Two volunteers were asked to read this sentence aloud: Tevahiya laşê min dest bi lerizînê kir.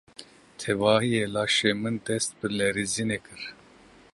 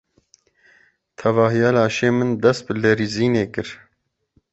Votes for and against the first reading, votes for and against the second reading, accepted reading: 1, 2, 2, 0, second